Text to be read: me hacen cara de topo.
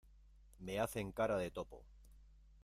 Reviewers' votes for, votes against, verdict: 2, 0, accepted